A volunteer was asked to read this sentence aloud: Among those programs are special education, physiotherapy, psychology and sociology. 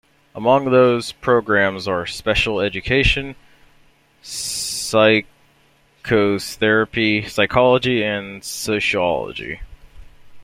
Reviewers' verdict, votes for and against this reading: rejected, 0, 2